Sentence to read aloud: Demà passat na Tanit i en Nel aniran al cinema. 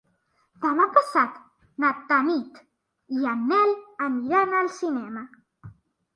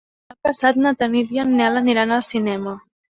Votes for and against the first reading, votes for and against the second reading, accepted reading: 3, 0, 1, 2, first